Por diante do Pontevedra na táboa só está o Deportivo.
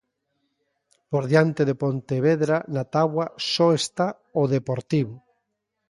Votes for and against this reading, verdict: 2, 1, accepted